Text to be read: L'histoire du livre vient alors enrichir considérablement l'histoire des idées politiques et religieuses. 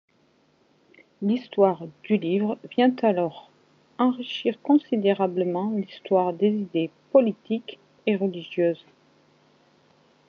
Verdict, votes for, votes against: accepted, 2, 0